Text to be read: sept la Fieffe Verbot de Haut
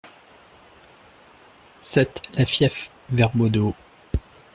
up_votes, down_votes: 2, 0